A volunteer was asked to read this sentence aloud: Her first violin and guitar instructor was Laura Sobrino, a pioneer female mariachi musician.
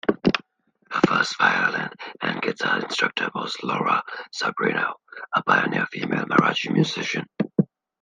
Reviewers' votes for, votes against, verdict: 0, 2, rejected